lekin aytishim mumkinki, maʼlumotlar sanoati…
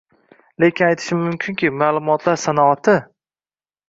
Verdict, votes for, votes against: accepted, 2, 1